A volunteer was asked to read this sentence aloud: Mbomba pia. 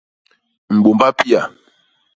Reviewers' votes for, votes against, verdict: 1, 2, rejected